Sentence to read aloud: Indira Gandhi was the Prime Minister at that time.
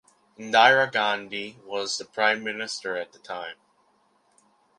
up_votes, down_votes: 0, 2